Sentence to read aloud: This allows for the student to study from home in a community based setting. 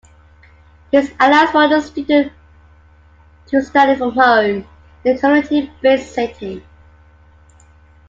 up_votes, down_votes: 1, 2